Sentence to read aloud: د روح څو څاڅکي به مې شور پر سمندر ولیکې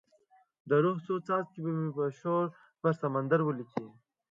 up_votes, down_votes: 1, 3